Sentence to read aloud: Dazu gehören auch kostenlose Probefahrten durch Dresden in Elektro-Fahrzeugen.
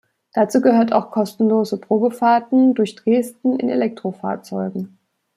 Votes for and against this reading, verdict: 1, 2, rejected